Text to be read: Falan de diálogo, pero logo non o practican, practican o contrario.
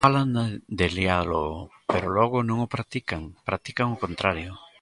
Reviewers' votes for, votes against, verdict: 0, 2, rejected